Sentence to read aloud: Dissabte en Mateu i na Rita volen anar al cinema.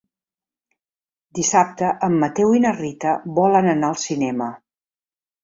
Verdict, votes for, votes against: accepted, 3, 0